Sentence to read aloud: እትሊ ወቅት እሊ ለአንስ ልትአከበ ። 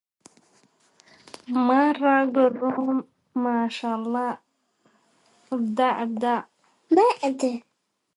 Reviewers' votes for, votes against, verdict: 0, 2, rejected